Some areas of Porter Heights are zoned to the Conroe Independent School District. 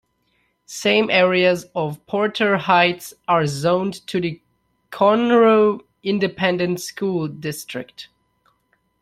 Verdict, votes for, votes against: rejected, 0, 2